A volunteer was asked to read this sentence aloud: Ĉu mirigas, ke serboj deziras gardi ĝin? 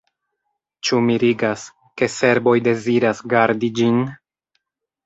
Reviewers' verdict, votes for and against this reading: accepted, 2, 0